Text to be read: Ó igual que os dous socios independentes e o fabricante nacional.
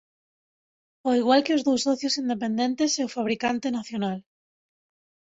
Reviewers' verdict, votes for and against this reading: accepted, 2, 0